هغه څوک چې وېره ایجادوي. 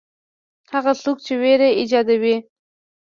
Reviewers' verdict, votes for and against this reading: accepted, 2, 0